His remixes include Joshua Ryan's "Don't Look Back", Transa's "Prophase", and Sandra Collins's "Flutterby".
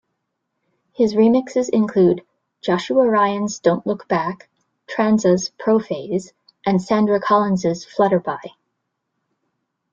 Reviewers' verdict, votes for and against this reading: rejected, 1, 2